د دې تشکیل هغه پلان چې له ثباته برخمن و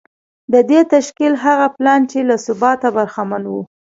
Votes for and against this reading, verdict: 1, 2, rejected